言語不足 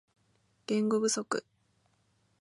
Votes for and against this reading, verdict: 2, 0, accepted